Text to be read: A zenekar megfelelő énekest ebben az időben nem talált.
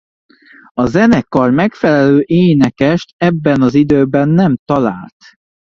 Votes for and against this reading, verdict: 2, 0, accepted